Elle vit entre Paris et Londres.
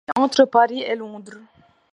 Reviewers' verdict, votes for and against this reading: accepted, 2, 1